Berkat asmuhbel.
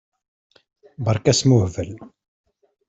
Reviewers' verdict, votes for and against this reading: rejected, 0, 2